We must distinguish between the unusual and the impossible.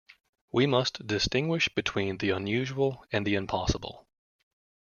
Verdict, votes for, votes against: accepted, 2, 0